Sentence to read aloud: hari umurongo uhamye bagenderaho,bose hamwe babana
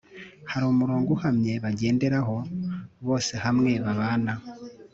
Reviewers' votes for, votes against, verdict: 3, 0, accepted